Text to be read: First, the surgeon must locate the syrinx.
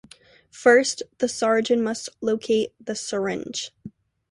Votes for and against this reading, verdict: 1, 2, rejected